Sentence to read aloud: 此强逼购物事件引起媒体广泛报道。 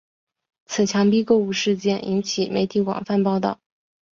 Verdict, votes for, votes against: accepted, 2, 1